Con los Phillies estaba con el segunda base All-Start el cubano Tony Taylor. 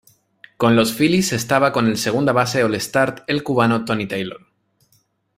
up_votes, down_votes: 2, 0